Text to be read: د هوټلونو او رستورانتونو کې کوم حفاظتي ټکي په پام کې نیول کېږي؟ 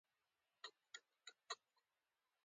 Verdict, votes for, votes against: rejected, 0, 2